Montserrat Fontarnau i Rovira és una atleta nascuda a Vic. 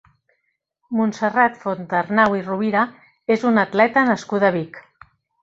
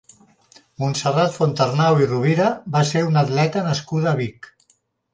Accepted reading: first